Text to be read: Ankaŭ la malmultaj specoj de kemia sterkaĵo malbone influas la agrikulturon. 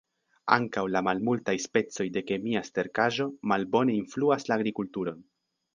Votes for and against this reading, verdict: 2, 0, accepted